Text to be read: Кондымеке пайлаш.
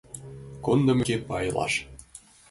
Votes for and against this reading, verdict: 0, 2, rejected